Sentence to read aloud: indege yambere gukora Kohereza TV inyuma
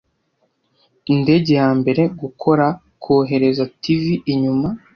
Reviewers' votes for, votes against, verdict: 2, 0, accepted